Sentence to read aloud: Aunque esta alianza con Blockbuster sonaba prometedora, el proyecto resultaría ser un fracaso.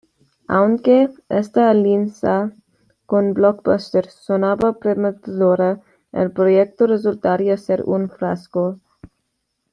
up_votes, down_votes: 1, 2